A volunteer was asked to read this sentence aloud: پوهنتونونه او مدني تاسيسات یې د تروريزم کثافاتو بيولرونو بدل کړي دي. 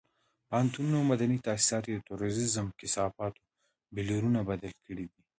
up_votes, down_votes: 2, 1